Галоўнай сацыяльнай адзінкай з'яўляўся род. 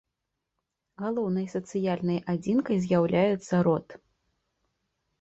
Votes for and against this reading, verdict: 1, 2, rejected